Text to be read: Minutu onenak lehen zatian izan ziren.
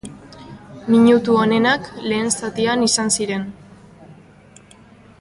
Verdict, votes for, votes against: accepted, 4, 0